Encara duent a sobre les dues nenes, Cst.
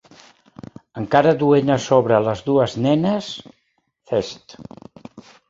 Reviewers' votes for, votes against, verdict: 1, 2, rejected